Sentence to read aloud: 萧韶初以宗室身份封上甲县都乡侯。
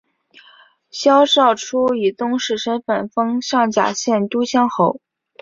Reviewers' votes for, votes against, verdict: 4, 0, accepted